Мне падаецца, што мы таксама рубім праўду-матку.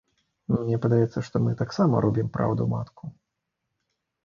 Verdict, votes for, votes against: accepted, 2, 0